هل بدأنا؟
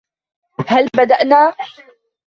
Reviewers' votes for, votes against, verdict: 1, 2, rejected